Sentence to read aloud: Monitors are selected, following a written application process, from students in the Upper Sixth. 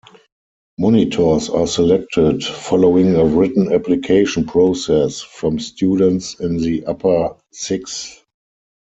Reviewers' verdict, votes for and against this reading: accepted, 4, 0